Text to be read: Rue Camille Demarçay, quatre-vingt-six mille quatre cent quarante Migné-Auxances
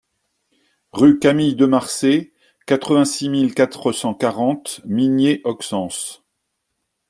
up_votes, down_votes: 2, 0